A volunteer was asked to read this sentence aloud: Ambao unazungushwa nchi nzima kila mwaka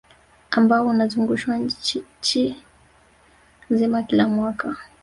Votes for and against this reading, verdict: 1, 2, rejected